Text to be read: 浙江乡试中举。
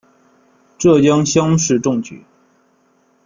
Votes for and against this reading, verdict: 2, 0, accepted